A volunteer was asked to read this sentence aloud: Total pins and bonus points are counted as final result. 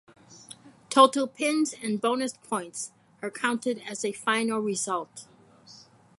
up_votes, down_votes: 2, 4